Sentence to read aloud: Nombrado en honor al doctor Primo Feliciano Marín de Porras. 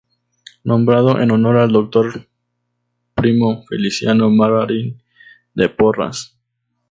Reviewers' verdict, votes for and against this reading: rejected, 0, 2